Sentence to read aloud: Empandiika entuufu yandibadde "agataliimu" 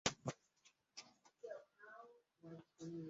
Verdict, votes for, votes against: rejected, 0, 3